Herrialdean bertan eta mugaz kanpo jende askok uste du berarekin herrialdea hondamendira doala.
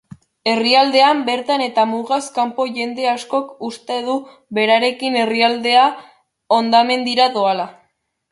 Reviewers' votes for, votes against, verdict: 2, 1, accepted